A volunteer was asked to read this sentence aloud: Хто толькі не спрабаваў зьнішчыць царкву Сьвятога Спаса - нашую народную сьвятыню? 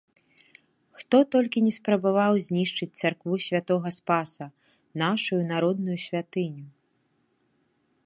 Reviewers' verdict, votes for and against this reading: accepted, 2, 0